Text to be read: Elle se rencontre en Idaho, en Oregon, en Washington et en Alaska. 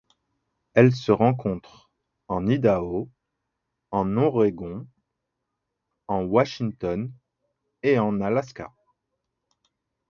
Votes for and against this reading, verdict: 1, 2, rejected